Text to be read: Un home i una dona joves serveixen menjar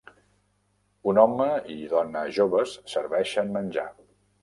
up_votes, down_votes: 0, 2